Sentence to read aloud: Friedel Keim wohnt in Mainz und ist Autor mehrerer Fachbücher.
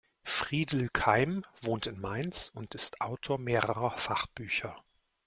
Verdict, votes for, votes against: accepted, 2, 0